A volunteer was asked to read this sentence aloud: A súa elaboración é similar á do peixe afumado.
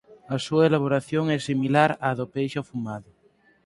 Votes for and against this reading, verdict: 4, 0, accepted